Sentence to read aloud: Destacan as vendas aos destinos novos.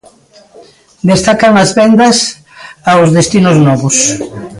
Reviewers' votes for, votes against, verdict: 1, 2, rejected